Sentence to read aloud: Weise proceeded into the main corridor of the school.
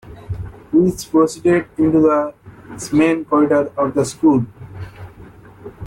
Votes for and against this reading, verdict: 2, 1, accepted